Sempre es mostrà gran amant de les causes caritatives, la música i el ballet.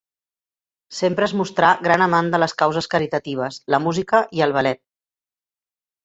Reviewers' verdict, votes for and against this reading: rejected, 0, 2